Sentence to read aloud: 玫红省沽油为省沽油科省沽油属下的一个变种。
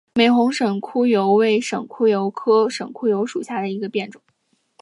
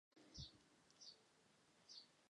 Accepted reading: first